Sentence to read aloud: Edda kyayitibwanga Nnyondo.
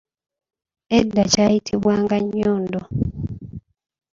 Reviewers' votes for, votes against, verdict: 1, 2, rejected